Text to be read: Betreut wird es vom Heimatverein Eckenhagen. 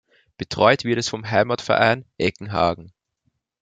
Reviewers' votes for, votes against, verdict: 2, 0, accepted